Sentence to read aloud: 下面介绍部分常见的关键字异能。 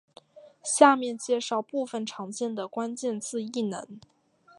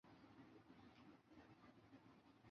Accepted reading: first